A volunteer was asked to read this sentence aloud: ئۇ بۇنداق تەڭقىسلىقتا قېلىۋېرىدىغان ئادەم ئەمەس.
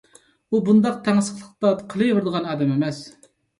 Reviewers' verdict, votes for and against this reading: rejected, 0, 2